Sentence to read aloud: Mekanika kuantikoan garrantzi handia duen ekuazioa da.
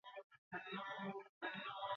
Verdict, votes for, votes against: rejected, 0, 6